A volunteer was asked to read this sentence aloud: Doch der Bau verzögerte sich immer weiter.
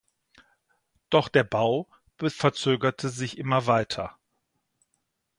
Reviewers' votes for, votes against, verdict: 0, 2, rejected